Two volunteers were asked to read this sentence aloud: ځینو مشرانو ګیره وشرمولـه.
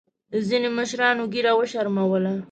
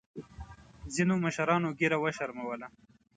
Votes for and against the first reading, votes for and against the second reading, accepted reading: 2, 0, 1, 2, first